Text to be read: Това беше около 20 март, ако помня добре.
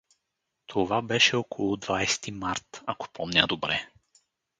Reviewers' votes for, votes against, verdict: 0, 2, rejected